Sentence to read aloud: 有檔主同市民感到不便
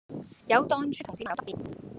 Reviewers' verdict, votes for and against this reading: rejected, 0, 2